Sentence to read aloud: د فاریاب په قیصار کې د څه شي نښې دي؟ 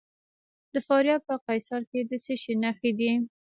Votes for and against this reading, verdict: 1, 2, rejected